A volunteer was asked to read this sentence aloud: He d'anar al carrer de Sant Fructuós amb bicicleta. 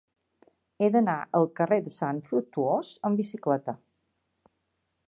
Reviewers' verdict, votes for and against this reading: accepted, 2, 0